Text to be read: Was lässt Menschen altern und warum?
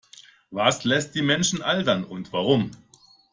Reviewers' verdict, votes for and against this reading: rejected, 1, 2